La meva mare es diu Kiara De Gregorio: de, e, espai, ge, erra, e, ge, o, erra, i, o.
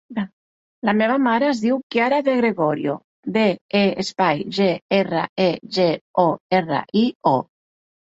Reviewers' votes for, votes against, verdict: 2, 0, accepted